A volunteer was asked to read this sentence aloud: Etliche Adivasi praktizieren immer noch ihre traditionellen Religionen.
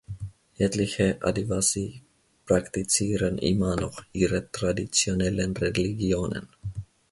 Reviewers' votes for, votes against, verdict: 2, 0, accepted